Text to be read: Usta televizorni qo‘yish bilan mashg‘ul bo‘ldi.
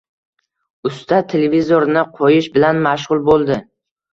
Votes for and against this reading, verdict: 2, 0, accepted